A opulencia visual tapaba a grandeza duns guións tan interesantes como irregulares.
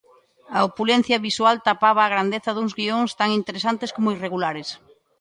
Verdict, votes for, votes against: accepted, 2, 0